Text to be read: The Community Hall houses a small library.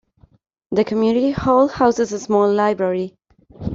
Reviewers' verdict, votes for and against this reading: accepted, 2, 0